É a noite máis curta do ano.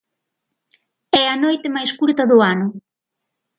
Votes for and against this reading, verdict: 2, 0, accepted